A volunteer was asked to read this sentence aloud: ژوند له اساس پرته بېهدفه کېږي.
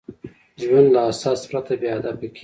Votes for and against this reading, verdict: 2, 0, accepted